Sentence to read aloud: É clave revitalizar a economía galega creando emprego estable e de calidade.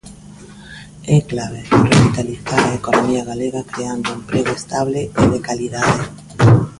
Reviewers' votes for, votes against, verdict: 1, 2, rejected